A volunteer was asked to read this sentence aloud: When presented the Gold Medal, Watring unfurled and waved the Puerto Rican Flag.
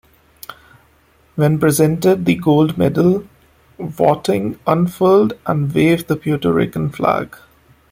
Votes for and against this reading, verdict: 0, 2, rejected